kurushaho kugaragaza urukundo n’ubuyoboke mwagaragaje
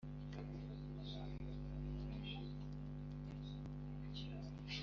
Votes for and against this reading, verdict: 0, 2, rejected